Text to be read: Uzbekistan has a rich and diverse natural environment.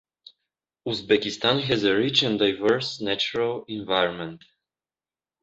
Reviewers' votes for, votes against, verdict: 2, 0, accepted